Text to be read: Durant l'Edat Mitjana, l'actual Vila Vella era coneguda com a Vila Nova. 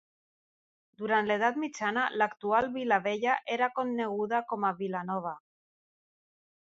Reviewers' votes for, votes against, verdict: 2, 0, accepted